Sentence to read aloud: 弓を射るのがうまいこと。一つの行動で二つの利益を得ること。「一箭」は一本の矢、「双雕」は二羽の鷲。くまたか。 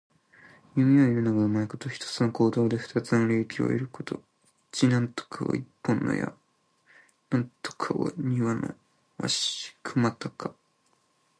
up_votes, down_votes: 0, 2